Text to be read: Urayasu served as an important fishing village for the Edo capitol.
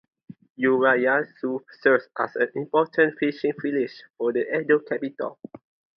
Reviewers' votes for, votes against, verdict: 2, 0, accepted